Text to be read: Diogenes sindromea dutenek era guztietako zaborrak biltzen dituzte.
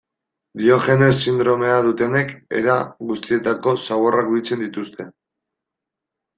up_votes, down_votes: 2, 0